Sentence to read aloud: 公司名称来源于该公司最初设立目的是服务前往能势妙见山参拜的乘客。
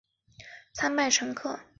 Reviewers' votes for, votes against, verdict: 0, 2, rejected